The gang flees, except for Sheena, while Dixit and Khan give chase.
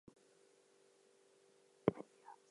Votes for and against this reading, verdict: 0, 2, rejected